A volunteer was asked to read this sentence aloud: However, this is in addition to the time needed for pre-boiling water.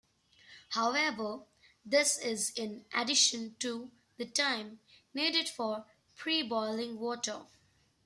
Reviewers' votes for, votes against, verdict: 1, 2, rejected